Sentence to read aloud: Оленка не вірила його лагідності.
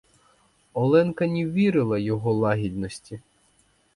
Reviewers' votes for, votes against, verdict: 2, 0, accepted